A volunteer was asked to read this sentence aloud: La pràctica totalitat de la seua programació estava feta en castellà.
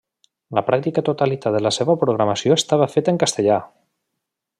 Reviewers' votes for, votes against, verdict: 2, 0, accepted